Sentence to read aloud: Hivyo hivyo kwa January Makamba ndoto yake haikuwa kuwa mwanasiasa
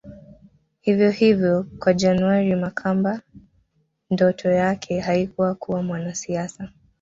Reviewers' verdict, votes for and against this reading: rejected, 0, 2